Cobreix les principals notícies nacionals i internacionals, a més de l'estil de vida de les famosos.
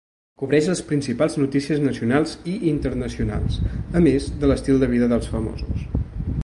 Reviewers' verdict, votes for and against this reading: rejected, 1, 2